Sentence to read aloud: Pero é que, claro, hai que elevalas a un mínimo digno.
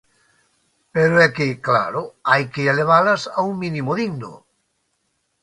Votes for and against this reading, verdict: 2, 0, accepted